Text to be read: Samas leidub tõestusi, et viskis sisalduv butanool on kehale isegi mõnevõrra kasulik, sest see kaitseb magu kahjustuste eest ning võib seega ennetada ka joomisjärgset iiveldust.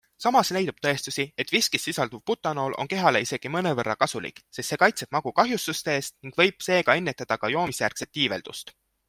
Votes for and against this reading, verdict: 2, 0, accepted